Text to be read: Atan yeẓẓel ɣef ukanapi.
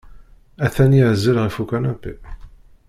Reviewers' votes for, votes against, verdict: 0, 2, rejected